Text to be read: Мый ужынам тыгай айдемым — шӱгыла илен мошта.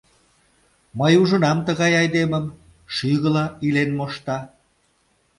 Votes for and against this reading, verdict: 2, 0, accepted